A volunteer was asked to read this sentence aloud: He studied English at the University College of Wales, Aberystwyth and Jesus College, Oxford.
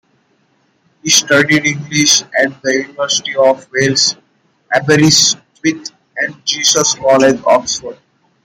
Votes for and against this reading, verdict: 1, 2, rejected